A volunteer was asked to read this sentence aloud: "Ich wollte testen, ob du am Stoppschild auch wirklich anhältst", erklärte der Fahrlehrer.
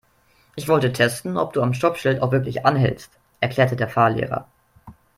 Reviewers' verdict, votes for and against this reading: accepted, 2, 0